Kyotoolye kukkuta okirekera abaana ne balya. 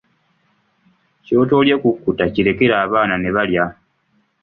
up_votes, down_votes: 1, 2